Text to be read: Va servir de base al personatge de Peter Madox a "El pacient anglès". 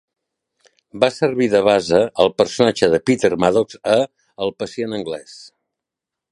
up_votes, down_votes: 1, 2